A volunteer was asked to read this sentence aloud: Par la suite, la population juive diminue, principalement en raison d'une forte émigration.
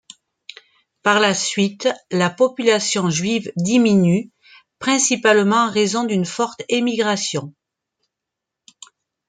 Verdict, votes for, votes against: accepted, 2, 0